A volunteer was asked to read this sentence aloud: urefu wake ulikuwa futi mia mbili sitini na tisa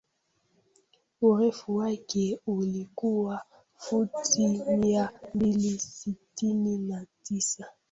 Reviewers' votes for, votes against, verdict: 0, 2, rejected